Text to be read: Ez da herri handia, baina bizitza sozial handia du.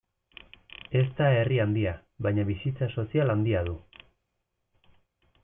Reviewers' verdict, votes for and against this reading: rejected, 1, 2